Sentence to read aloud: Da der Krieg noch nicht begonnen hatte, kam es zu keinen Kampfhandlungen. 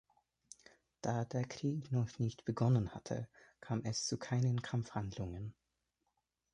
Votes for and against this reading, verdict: 2, 0, accepted